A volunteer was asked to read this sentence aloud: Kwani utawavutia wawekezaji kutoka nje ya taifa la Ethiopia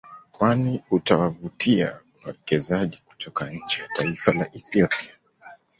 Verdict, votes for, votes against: accepted, 2, 0